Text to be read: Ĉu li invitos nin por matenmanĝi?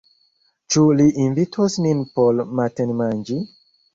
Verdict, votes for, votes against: rejected, 0, 2